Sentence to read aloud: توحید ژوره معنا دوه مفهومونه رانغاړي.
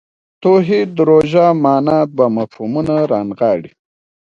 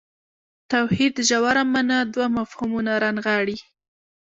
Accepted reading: first